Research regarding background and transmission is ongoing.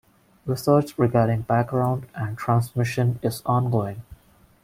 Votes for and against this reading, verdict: 1, 2, rejected